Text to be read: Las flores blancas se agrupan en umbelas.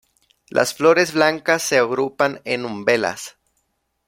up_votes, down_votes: 2, 0